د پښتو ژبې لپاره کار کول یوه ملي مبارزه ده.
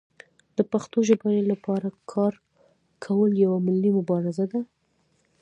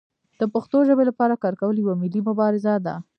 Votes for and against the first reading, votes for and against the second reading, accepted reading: 2, 1, 0, 2, first